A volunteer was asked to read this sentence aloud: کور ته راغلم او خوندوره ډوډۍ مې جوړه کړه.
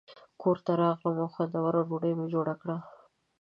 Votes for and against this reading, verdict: 2, 0, accepted